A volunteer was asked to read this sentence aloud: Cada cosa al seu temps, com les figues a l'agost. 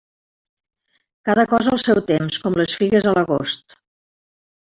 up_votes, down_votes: 3, 0